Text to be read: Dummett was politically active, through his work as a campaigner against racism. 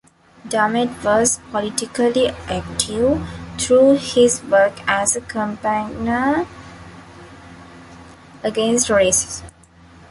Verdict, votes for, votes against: rejected, 0, 2